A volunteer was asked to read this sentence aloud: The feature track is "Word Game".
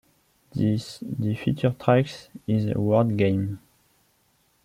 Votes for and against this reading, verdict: 0, 2, rejected